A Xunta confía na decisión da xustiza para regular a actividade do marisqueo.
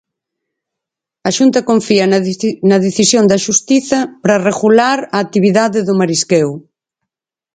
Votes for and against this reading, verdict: 2, 4, rejected